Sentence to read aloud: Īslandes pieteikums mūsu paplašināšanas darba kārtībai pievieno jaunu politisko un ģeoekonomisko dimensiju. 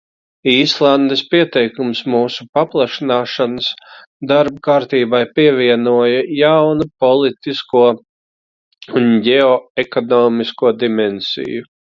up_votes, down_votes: 1, 2